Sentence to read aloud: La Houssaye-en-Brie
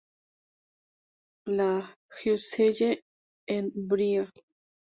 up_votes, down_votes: 2, 2